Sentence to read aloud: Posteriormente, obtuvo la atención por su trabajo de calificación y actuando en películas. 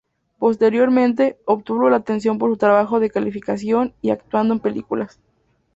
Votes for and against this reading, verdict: 2, 0, accepted